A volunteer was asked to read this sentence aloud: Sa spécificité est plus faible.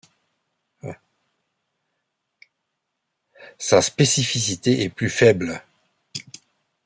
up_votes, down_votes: 2, 0